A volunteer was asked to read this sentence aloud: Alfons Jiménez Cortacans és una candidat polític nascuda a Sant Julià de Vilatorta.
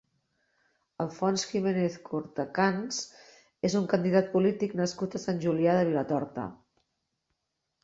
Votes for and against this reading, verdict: 1, 2, rejected